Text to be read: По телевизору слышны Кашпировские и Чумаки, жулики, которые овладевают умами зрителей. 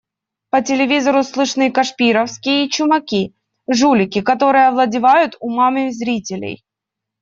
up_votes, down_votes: 1, 2